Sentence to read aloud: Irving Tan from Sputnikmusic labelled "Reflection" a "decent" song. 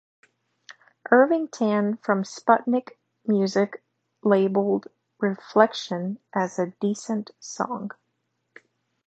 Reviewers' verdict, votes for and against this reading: rejected, 2, 3